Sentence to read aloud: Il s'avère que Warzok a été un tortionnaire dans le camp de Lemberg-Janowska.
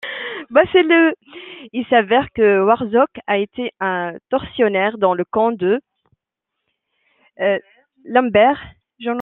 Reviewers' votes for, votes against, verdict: 0, 2, rejected